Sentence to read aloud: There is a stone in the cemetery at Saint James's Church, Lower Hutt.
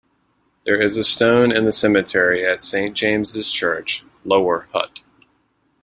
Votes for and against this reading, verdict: 2, 0, accepted